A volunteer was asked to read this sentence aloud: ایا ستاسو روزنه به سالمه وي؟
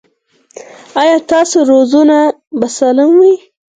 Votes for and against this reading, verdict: 4, 0, accepted